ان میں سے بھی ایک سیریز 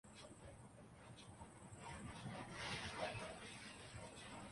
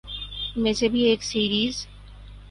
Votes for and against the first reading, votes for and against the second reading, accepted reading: 0, 2, 8, 0, second